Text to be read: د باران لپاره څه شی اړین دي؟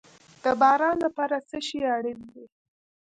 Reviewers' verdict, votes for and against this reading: rejected, 0, 2